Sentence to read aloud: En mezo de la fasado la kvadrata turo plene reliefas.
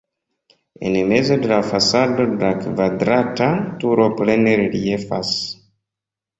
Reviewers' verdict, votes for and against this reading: accepted, 2, 0